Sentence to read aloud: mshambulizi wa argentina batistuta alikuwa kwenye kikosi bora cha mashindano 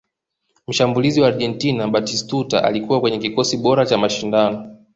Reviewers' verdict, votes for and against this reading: accepted, 2, 0